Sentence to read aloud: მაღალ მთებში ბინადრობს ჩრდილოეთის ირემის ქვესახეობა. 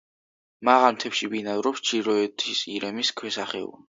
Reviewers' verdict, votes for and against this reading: rejected, 1, 2